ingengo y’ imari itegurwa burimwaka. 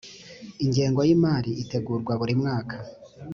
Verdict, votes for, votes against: accepted, 2, 0